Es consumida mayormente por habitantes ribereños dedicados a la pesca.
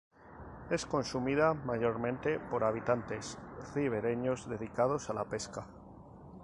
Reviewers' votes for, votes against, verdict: 0, 2, rejected